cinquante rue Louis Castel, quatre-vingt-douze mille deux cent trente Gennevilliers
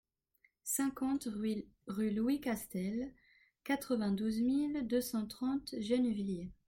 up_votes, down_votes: 0, 2